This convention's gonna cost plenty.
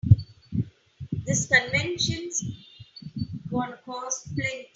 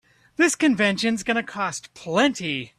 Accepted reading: second